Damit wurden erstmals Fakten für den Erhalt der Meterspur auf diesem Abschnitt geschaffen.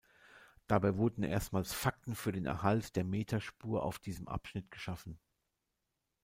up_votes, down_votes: 1, 2